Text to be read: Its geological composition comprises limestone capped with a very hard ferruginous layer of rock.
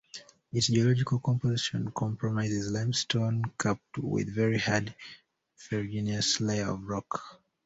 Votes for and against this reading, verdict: 0, 2, rejected